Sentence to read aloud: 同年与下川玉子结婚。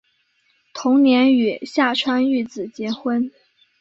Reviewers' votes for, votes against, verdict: 2, 0, accepted